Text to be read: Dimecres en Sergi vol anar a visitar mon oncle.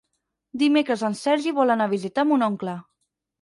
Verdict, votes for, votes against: accepted, 6, 0